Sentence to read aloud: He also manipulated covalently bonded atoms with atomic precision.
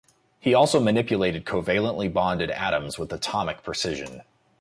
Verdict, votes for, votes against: accepted, 2, 0